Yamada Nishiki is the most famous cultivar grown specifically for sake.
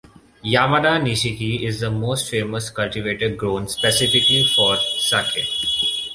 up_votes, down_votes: 1, 2